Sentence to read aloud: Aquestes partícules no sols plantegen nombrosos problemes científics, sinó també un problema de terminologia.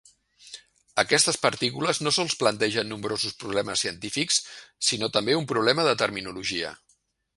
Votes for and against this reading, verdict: 3, 0, accepted